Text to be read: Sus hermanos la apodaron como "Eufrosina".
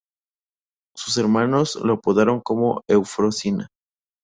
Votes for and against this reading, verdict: 0, 2, rejected